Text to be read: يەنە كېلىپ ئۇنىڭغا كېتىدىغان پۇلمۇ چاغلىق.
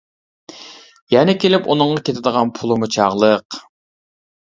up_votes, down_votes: 0, 2